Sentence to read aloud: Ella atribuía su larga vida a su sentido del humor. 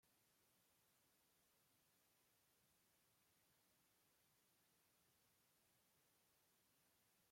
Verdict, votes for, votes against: rejected, 0, 2